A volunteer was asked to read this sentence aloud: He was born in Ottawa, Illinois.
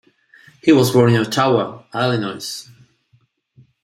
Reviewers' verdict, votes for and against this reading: accepted, 2, 0